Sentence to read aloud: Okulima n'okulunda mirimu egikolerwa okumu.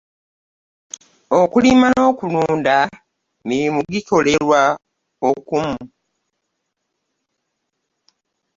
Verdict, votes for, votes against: rejected, 1, 2